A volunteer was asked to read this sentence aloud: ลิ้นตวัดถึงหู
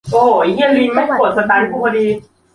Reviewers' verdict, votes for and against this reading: rejected, 0, 3